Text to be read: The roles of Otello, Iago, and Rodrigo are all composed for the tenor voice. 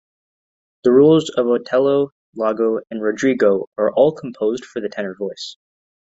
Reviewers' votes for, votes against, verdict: 2, 0, accepted